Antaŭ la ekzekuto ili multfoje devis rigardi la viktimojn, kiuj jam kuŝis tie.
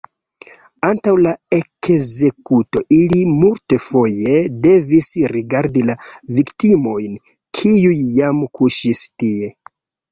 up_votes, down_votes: 0, 2